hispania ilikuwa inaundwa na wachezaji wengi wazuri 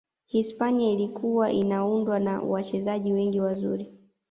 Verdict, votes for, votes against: accepted, 2, 0